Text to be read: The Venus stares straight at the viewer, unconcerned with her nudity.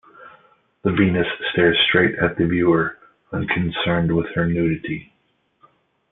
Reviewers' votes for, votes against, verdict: 2, 1, accepted